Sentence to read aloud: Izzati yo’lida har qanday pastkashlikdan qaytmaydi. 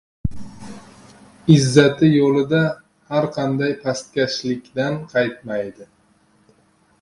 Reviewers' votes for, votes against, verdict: 1, 2, rejected